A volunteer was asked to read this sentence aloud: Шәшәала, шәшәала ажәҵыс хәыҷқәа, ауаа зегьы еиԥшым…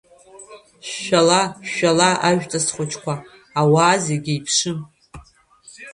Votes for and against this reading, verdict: 2, 0, accepted